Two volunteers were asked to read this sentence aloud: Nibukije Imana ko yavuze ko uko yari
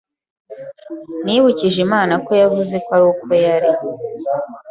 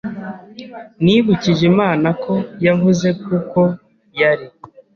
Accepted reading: second